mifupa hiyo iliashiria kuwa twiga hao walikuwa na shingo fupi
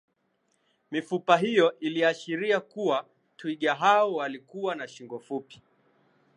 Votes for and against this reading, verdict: 11, 1, accepted